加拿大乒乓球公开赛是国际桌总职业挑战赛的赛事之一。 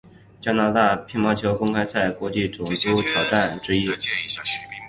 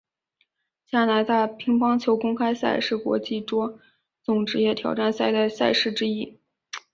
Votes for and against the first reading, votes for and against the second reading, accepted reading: 1, 3, 5, 0, second